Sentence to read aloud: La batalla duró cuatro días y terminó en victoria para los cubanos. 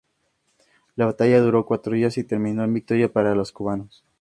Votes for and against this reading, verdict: 4, 0, accepted